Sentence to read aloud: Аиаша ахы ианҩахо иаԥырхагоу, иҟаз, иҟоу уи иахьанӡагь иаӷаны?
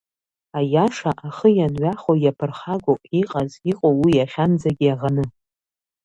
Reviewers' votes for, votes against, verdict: 1, 2, rejected